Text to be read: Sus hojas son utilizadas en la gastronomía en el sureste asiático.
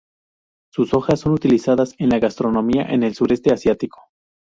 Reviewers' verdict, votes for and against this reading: accepted, 2, 0